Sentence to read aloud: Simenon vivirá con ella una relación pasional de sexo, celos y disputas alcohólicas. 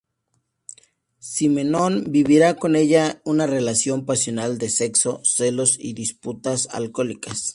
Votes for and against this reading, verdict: 0, 2, rejected